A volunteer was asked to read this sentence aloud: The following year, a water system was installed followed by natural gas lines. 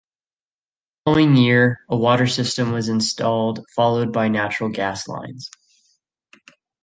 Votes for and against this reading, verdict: 1, 2, rejected